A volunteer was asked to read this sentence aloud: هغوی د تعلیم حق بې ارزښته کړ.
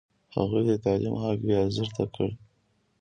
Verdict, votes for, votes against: accepted, 2, 0